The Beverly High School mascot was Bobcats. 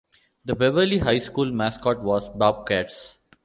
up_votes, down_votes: 2, 0